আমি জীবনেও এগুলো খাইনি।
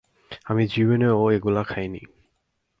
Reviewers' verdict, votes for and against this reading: rejected, 0, 4